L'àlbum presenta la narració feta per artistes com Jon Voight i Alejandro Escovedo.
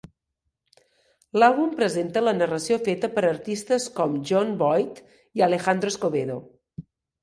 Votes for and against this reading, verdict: 2, 0, accepted